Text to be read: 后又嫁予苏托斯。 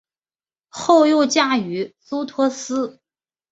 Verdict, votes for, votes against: accepted, 2, 0